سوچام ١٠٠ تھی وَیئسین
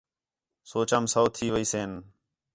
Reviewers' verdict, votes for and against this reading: rejected, 0, 2